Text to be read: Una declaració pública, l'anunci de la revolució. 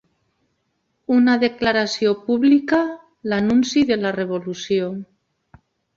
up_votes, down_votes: 3, 0